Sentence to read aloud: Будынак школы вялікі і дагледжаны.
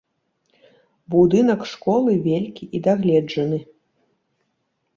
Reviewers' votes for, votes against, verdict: 1, 2, rejected